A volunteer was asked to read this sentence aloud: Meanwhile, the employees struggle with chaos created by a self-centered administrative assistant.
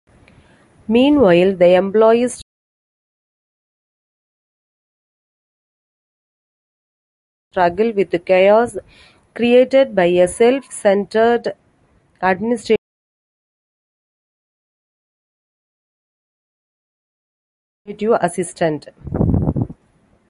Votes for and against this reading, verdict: 0, 2, rejected